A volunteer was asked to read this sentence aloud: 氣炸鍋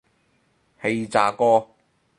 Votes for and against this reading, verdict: 2, 0, accepted